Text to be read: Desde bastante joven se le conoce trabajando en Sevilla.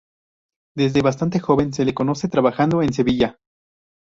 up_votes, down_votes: 2, 0